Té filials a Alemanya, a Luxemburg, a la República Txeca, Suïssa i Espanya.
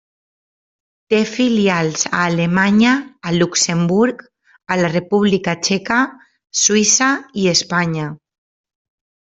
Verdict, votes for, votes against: accepted, 3, 0